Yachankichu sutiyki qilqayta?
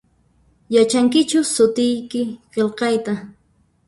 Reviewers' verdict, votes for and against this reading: rejected, 1, 2